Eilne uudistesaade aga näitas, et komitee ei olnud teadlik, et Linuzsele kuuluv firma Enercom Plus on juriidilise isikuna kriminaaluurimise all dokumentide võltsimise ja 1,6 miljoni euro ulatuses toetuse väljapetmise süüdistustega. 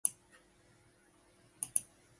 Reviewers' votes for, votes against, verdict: 0, 2, rejected